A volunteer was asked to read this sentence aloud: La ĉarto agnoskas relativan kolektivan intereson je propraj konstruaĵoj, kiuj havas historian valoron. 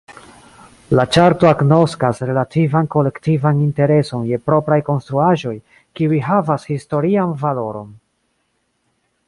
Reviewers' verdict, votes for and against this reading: accepted, 2, 0